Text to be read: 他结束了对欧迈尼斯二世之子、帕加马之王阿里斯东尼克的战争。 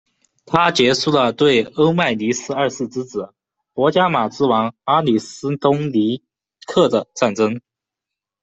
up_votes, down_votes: 0, 2